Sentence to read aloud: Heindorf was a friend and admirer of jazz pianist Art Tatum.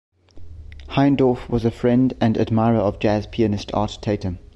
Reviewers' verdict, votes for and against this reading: accepted, 2, 0